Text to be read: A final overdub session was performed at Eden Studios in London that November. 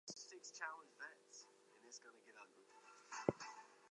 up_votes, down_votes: 0, 4